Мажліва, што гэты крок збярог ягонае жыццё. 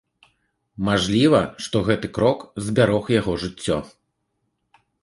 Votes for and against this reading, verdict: 0, 3, rejected